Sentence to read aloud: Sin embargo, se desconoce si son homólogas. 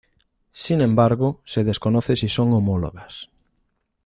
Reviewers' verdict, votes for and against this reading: accepted, 2, 0